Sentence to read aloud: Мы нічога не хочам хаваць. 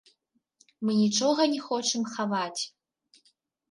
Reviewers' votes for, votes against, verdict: 0, 3, rejected